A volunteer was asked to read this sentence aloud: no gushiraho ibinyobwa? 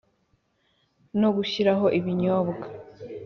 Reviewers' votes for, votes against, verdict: 2, 0, accepted